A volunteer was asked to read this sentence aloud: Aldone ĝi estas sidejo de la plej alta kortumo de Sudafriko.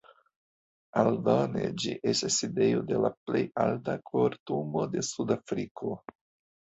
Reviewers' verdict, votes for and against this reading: rejected, 1, 2